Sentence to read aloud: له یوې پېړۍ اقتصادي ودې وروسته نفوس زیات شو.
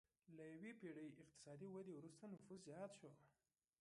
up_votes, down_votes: 1, 2